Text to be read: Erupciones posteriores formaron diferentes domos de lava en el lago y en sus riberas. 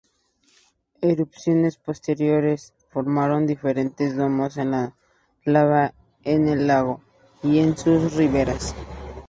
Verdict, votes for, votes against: rejected, 2, 2